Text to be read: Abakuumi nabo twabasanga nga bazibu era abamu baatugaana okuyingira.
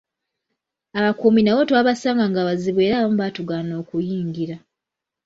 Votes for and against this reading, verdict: 2, 0, accepted